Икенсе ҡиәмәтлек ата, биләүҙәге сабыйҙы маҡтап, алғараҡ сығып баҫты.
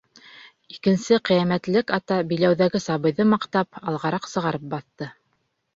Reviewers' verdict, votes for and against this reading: rejected, 1, 2